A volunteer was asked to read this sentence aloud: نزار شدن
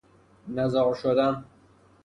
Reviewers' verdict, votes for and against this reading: accepted, 3, 0